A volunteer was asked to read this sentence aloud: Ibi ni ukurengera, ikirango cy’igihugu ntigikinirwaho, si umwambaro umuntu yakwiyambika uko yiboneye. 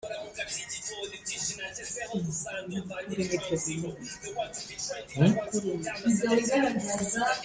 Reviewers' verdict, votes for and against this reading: rejected, 0, 2